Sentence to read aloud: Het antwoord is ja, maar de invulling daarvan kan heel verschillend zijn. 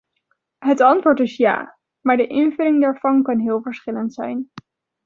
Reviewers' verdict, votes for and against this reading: rejected, 1, 2